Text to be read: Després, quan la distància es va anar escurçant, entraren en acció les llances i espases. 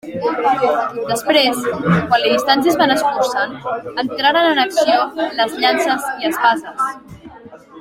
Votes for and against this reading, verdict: 2, 0, accepted